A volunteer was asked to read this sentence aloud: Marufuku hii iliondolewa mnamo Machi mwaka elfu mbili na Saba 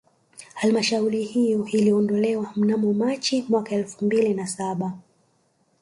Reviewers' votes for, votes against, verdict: 2, 3, rejected